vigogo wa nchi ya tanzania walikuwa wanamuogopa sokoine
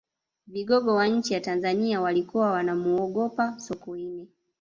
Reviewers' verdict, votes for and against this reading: accepted, 2, 0